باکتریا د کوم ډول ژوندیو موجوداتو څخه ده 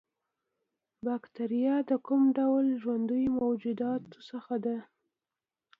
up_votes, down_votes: 2, 0